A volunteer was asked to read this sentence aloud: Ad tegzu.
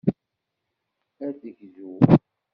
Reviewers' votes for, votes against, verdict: 0, 2, rejected